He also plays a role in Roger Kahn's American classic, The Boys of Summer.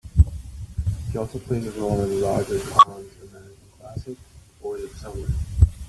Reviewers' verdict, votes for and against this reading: rejected, 0, 2